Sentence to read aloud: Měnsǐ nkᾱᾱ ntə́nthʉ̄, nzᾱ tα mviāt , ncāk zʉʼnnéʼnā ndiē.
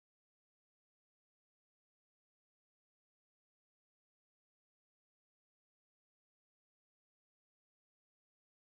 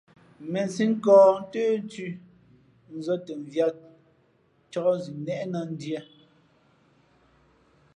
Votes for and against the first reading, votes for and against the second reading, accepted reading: 0, 2, 2, 0, second